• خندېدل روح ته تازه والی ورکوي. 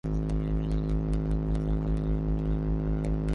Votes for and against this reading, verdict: 0, 2, rejected